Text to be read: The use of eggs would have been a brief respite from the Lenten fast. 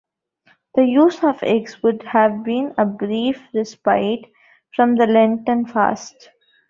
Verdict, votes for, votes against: accepted, 2, 1